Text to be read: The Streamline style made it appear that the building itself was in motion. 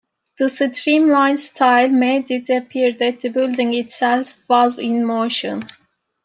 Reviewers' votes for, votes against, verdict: 1, 2, rejected